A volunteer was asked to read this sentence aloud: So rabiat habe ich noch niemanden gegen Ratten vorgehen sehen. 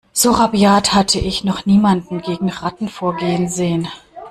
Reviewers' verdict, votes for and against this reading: rejected, 1, 2